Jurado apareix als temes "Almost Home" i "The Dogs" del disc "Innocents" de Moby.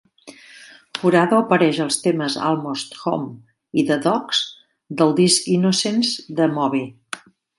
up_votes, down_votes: 2, 0